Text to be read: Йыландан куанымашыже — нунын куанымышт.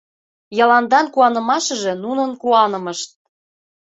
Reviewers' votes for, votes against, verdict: 2, 0, accepted